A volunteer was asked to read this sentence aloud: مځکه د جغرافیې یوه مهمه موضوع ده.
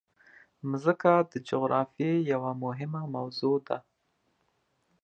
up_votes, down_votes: 2, 0